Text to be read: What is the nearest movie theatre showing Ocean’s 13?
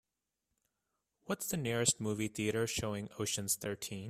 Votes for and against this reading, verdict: 0, 2, rejected